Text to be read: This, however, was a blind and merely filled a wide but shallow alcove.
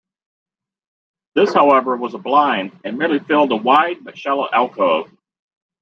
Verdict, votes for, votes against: rejected, 1, 2